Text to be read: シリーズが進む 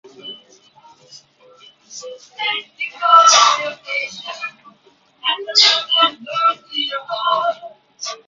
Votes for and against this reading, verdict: 0, 2, rejected